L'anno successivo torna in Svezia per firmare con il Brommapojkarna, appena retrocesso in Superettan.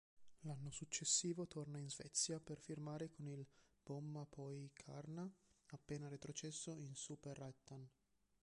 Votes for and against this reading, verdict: 1, 2, rejected